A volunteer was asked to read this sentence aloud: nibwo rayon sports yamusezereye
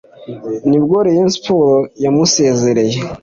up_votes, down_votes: 3, 0